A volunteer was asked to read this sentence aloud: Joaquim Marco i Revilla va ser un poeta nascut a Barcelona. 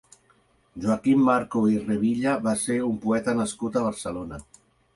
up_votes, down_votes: 2, 0